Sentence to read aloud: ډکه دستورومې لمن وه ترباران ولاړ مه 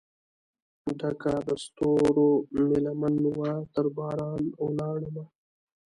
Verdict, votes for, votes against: accepted, 2, 0